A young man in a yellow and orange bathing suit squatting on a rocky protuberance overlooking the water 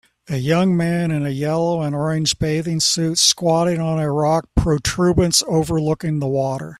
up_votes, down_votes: 0, 2